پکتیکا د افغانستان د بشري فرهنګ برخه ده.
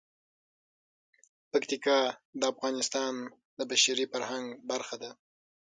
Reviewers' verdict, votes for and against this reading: rejected, 3, 6